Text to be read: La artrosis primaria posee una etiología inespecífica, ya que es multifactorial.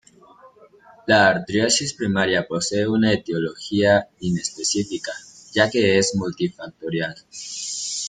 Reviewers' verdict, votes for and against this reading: rejected, 0, 2